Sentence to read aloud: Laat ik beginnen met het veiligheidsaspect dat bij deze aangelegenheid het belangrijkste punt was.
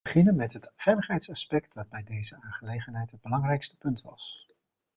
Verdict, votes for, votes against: rejected, 0, 2